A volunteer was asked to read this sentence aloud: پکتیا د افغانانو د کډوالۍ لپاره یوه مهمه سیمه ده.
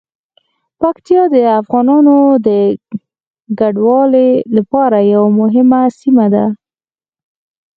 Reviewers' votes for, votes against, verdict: 4, 0, accepted